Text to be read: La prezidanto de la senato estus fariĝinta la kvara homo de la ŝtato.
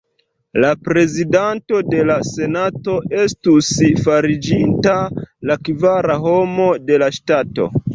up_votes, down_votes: 1, 2